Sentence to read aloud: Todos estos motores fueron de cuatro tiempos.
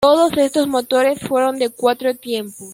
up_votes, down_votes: 2, 0